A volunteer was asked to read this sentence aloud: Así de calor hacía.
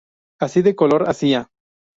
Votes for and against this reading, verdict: 0, 2, rejected